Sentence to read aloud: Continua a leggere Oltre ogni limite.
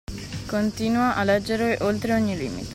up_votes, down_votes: 1, 2